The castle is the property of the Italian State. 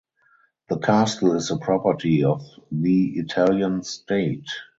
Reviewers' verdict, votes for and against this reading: rejected, 0, 2